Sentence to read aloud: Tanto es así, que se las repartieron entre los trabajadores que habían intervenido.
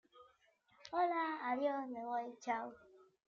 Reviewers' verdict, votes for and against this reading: rejected, 0, 2